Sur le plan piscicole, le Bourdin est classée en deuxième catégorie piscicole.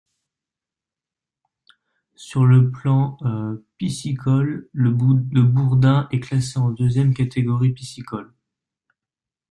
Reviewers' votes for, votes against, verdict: 0, 2, rejected